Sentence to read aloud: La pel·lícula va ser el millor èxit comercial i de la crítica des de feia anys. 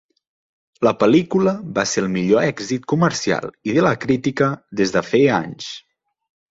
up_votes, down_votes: 3, 0